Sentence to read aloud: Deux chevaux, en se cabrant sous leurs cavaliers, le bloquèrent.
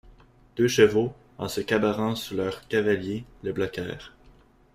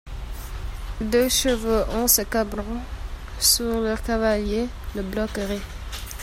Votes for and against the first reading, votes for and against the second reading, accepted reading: 2, 1, 1, 2, first